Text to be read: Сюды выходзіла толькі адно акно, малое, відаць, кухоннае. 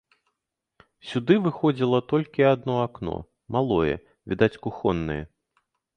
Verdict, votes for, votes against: rejected, 1, 2